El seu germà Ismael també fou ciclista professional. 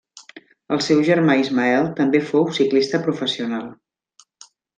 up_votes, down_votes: 3, 0